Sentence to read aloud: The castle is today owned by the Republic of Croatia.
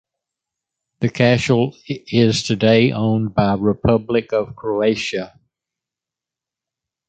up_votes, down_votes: 0, 2